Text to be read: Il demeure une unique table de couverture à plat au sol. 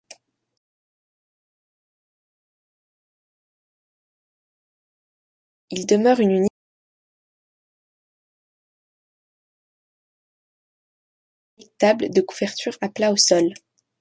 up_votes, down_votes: 0, 2